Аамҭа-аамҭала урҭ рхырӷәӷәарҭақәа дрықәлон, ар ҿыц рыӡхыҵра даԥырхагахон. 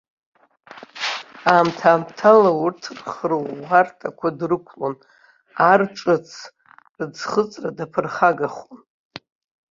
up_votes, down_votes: 1, 2